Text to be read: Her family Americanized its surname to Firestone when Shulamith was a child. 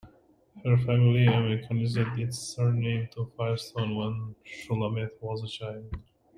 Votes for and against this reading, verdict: 0, 2, rejected